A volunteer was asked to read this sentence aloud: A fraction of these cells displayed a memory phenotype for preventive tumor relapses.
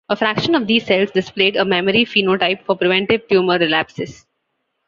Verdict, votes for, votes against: accepted, 2, 1